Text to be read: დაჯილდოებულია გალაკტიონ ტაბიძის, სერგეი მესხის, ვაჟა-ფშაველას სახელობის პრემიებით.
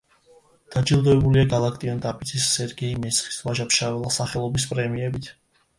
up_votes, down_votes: 2, 0